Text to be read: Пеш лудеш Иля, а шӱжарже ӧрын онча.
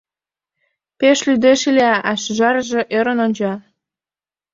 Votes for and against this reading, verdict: 2, 0, accepted